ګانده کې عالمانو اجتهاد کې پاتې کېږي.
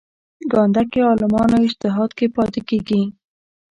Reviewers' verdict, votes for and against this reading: accepted, 2, 1